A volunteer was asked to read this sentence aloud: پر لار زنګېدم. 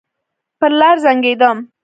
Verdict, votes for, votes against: rejected, 1, 2